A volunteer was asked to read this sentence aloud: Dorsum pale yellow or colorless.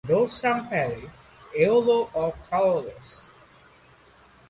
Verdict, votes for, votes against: accepted, 2, 1